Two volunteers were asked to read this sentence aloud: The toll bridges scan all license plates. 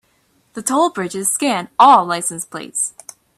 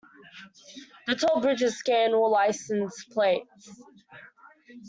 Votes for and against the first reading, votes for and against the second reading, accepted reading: 2, 0, 1, 2, first